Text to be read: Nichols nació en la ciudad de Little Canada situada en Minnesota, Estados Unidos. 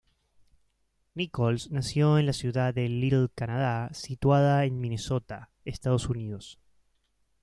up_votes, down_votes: 1, 2